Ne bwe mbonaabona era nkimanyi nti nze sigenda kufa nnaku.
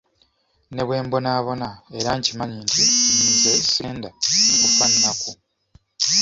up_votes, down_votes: 0, 2